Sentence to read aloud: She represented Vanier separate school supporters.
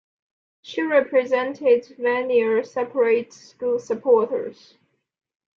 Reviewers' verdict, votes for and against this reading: accepted, 2, 0